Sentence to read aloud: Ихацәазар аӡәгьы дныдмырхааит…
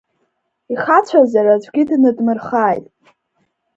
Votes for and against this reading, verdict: 2, 0, accepted